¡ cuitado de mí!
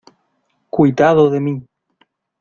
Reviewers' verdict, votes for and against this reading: accepted, 2, 1